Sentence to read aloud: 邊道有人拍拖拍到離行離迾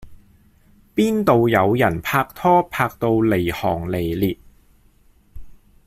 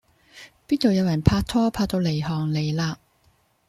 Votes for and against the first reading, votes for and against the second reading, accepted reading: 1, 3, 2, 0, second